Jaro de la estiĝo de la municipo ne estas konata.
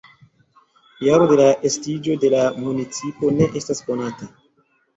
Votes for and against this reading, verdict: 2, 1, accepted